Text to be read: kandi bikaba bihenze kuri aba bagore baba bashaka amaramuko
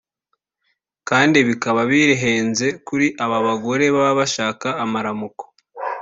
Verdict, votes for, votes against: accepted, 2, 0